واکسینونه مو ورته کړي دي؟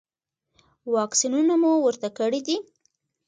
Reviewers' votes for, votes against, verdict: 2, 0, accepted